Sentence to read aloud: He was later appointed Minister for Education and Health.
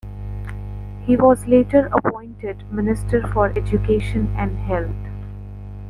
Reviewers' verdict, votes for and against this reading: accepted, 2, 0